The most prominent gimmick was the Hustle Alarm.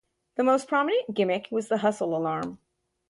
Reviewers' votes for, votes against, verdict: 2, 0, accepted